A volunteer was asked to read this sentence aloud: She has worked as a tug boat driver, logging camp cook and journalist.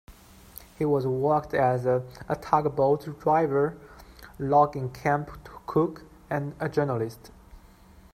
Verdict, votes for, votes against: rejected, 1, 2